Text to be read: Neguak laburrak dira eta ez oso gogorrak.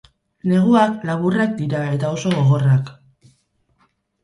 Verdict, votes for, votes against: rejected, 2, 4